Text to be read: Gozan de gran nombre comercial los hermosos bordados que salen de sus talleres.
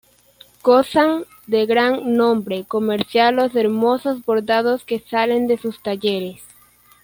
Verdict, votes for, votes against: rejected, 1, 2